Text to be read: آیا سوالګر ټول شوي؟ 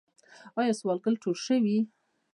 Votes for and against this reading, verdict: 2, 0, accepted